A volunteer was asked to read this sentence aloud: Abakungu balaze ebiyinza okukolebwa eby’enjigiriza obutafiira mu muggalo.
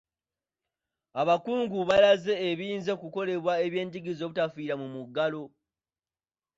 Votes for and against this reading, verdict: 2, 0, accepted